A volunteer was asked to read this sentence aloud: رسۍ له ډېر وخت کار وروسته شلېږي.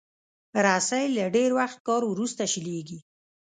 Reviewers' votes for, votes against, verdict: 2, 0, accepted